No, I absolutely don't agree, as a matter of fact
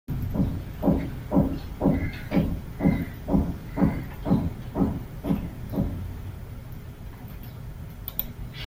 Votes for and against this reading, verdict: 0, 2, rejected